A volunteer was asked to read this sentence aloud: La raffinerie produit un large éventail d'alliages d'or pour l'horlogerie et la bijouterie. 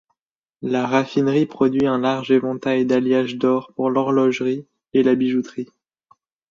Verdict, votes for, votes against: accepted, 2, 0